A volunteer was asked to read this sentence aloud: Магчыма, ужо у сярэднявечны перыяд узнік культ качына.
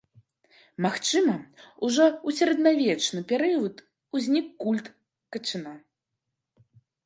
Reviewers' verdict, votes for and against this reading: rejected, 2, 3